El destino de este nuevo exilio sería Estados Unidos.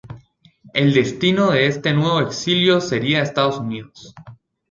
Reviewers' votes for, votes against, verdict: 2, 0, accepted